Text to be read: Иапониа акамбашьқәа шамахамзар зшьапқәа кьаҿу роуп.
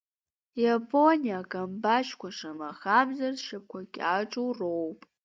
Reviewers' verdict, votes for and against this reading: rejected, 1, 2